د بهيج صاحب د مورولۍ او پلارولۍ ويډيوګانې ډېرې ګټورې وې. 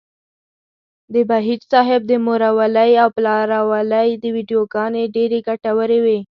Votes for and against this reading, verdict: 2, 0, accepted